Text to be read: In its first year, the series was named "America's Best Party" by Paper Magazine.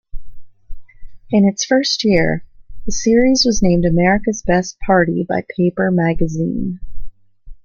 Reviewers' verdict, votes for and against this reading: accepted, 2, 0